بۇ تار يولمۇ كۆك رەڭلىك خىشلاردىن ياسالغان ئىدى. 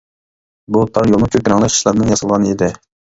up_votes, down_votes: 0, 2